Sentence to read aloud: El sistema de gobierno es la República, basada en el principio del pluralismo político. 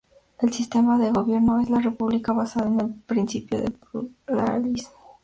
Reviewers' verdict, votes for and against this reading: rejected, 0, 2